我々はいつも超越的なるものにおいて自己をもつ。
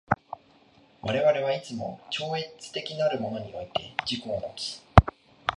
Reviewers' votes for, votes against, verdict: 2, 1, accepted